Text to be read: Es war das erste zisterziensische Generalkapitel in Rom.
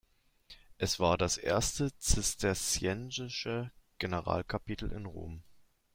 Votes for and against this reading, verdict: 1, 2, rejected